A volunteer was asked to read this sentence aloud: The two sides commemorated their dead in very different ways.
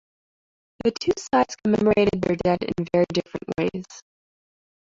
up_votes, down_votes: 1, 2